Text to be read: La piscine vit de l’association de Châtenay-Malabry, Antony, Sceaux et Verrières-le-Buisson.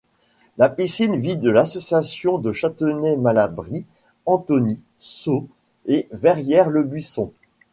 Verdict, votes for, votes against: rejected, 1, 2